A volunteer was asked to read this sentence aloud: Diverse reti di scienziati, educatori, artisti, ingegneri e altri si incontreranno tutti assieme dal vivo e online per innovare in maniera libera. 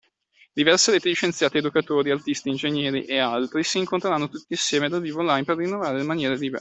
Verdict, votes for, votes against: rejected, 1, 2